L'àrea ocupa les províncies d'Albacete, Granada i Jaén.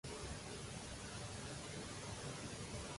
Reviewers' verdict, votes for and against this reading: rejected, 0, 2